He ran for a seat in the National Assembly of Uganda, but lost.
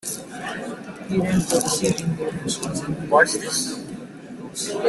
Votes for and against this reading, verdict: 0, 2, rejected